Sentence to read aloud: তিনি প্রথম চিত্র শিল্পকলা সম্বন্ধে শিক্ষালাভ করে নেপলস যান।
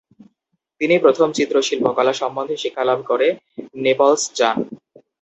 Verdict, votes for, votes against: accepted, 2, 0